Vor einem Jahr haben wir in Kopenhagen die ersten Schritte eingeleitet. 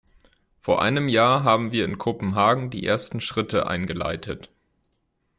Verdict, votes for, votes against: accepted, 2, 0